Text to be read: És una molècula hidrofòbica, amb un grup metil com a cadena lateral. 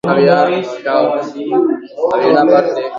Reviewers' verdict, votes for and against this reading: rejected, 1, 2